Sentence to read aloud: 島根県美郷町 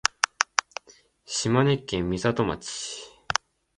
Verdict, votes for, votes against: rejected, 1, 2